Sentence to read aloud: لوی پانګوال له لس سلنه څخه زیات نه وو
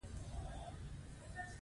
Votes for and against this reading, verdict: 2, 1, accepted